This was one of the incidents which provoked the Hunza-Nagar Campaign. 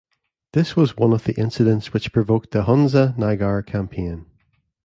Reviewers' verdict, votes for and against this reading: accepted, 2, 0